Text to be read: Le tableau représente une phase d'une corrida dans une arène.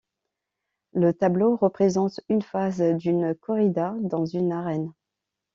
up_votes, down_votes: 2, 0